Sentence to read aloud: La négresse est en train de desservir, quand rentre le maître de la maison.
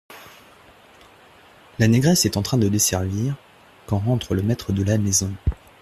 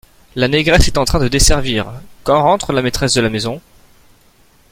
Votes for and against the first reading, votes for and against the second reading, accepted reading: 2, 0, 0, 2, first